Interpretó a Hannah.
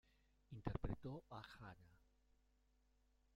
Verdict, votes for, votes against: rejected, 0, 2